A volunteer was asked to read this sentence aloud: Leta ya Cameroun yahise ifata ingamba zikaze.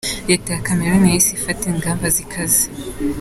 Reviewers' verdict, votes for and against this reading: accepted, 2, 0